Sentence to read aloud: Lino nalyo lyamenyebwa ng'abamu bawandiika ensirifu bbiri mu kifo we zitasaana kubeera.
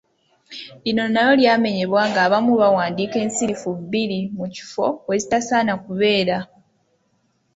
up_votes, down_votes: 2, 0